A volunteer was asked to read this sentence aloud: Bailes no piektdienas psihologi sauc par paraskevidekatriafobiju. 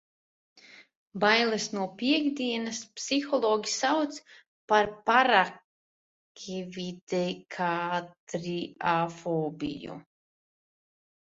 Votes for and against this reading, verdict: 1, 2, rejected